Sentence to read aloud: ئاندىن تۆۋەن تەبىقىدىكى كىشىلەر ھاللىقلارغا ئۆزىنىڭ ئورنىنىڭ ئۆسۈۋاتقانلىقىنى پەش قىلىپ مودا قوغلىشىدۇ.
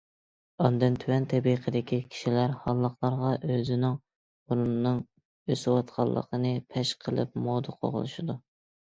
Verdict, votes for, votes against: accepted, 2, 0